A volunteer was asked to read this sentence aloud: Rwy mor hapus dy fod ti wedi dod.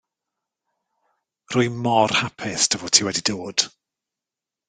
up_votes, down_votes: 2, 0